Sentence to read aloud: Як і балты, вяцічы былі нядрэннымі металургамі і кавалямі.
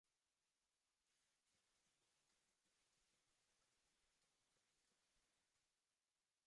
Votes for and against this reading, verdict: 0, 2, rejected